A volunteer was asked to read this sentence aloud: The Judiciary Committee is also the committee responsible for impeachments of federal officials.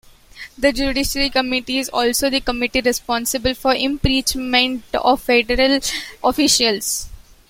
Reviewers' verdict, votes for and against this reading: rejected, 1, 2